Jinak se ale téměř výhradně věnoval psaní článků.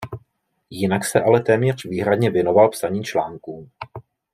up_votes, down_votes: 2, 0